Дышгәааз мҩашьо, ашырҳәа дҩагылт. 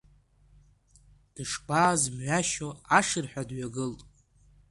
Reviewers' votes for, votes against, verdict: 3, 1, accepted